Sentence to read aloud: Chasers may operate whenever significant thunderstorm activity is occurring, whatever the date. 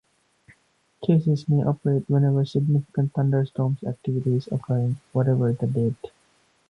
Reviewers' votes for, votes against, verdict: 1, 2, rejected